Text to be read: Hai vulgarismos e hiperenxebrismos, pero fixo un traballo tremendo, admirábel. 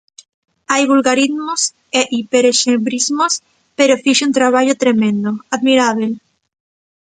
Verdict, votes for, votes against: rejected, 1, 2